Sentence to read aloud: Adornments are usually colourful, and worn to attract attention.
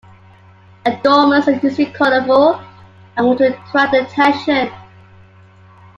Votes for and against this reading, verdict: 2, 1, accepted